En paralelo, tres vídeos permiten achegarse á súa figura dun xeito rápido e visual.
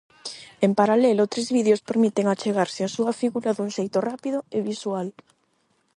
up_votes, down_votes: 8, 0